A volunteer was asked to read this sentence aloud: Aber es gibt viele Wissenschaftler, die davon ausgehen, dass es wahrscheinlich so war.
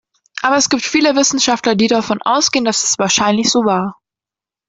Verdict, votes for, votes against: accepted, 2, 1